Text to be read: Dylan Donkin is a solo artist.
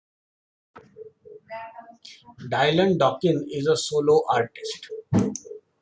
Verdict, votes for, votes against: accepted, 2, 0